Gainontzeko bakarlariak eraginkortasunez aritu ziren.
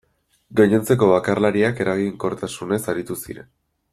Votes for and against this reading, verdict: 2, 0, accepted